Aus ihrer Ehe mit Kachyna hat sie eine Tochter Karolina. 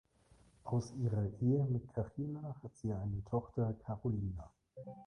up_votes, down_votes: 2, 0